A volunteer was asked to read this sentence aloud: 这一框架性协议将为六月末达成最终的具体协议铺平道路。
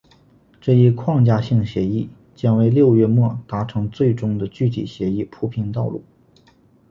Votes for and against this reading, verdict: 3, 0, accepted